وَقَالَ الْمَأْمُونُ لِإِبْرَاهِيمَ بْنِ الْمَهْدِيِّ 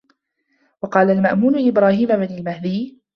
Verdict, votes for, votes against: accepted, 2, 0